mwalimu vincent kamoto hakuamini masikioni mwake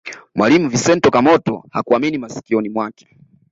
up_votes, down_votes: 2, 0